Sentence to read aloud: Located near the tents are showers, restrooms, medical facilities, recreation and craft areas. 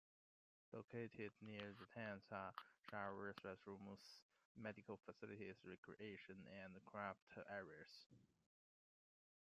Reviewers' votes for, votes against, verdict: 0, 2, rejected